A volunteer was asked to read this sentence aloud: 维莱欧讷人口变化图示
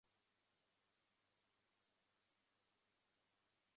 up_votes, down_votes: 1, 4